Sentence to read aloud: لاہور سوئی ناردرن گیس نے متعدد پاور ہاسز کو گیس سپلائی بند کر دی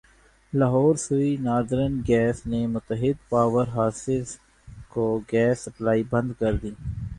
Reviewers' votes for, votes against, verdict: 1, 2, rejected